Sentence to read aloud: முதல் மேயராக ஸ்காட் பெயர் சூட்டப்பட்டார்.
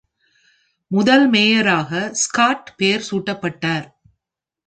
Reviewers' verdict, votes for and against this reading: accepted, 2, 0